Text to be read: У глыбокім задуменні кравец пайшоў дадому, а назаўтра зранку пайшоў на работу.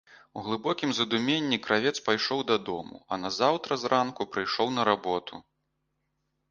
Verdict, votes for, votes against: rejected, 1, 2